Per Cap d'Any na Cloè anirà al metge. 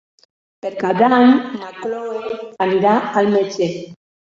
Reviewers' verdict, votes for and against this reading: rejected, 1, 2